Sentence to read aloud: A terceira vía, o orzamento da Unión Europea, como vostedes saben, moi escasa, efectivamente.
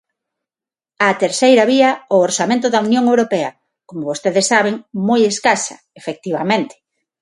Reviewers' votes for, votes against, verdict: 6, 0, accepted